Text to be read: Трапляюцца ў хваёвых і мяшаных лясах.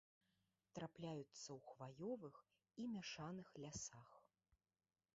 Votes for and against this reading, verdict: 1, 2, rejected